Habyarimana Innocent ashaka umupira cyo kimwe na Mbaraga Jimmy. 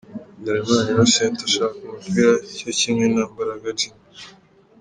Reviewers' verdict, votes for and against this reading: accepted, 3, 1